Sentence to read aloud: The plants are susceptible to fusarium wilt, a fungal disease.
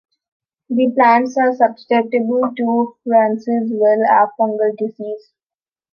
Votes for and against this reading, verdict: 0, 2, rejected